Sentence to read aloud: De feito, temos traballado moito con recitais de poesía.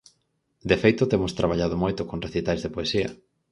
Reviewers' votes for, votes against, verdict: 4, 0, accepted